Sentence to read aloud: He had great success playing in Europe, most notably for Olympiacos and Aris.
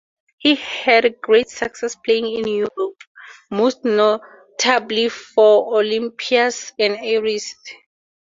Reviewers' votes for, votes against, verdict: 2, 2, rejected